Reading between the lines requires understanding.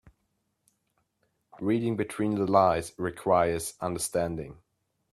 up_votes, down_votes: 0, 2